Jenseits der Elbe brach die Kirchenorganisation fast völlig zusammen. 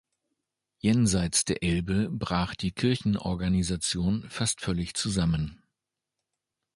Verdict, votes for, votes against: accepted, 2, 0